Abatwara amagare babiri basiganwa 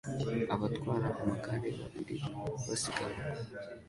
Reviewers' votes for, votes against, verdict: 2, 0, accepted